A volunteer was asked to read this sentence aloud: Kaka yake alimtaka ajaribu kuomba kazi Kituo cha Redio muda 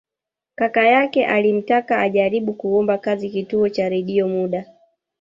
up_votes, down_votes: 1, 2